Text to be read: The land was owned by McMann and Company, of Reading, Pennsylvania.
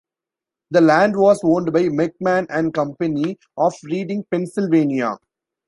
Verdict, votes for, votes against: accepted, 2, 1